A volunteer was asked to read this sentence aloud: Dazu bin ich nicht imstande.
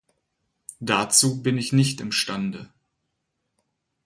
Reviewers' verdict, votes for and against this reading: accepted, 4, 0